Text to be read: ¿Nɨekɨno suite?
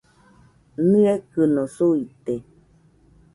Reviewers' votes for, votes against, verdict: 2, 0, accepted